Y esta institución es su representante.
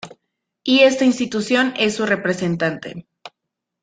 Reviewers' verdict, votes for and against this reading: accepted, 2, 0